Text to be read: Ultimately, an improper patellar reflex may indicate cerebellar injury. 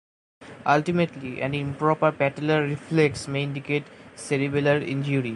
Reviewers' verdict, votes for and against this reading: accepted, 2, 0